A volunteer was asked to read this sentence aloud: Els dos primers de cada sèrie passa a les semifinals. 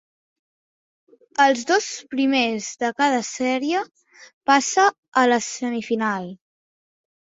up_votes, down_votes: 1, 2